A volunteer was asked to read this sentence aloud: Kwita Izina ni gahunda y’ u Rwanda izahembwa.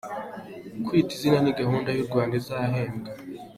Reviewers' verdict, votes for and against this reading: accepted, 2, 0